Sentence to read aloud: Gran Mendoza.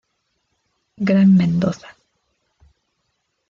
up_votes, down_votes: 2, 0